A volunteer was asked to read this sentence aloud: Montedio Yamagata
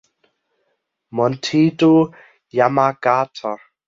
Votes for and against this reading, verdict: 1, 2, rejected